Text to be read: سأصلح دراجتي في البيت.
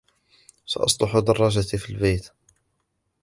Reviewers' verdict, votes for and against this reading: accepted, 2, 0